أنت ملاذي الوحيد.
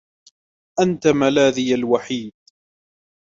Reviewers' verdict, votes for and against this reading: rejected, 1, 2